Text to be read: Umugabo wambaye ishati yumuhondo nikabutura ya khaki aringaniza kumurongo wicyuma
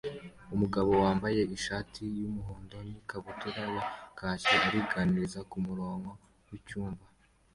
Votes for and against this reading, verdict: 2, 1, accepted